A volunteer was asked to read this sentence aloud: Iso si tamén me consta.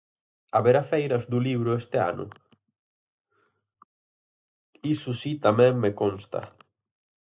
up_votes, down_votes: 0, 4